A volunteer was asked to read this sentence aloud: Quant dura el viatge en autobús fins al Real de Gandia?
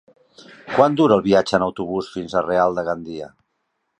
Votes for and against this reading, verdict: 1, 2, rejected